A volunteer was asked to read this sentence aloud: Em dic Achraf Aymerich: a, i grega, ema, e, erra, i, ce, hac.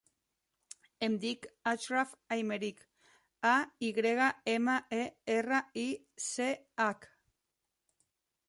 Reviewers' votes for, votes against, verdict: 2, 0, accepted